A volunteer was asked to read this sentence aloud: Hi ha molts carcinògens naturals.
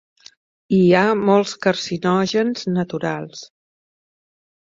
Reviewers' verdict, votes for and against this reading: accepted, 2, 0